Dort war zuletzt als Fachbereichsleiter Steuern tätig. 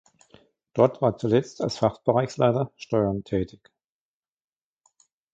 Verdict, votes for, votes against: accepted, 2, 1